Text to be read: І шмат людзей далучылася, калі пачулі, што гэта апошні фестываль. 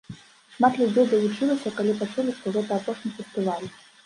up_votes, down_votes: 0, 2